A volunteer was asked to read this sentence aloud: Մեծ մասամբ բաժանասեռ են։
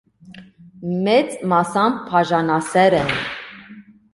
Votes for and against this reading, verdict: 2, 0, accepted